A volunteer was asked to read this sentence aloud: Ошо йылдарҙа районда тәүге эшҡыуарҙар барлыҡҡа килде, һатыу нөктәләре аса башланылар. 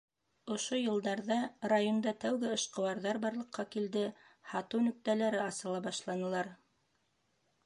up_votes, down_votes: 2, 1